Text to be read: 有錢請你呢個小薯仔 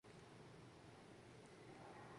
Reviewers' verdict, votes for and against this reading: rejected, 0, 4